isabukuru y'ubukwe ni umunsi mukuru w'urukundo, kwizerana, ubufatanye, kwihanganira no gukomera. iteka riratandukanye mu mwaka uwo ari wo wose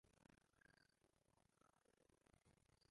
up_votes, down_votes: 0, 2